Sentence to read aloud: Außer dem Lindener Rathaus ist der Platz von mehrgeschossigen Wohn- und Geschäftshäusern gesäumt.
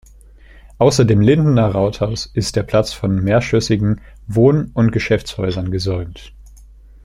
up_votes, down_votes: 0, 2